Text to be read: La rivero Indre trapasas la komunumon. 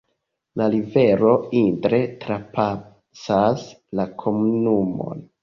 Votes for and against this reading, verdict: 0, 2, rejected